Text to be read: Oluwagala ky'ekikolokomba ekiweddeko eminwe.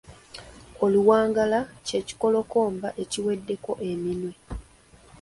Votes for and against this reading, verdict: 3, 2, accepted